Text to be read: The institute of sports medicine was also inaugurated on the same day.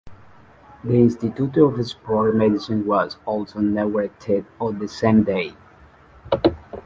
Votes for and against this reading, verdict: 1, 2, rejected